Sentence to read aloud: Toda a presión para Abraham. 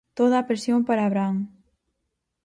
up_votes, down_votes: 4, 0